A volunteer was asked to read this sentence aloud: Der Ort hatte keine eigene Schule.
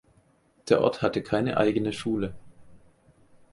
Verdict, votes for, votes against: accepted, 4, 0